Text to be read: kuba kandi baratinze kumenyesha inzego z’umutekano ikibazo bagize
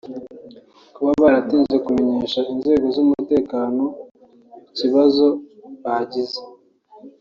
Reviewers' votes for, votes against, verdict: 0, 3, rejected